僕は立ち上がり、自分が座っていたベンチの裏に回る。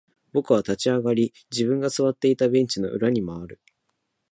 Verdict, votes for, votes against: accepted, 3, 0